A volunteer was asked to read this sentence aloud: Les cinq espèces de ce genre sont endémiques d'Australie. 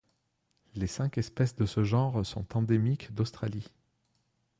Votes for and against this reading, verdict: 2, 0, accepted